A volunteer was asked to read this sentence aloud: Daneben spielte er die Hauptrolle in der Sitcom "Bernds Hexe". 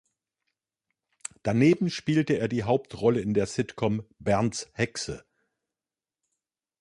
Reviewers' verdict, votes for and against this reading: accepted, 2, 0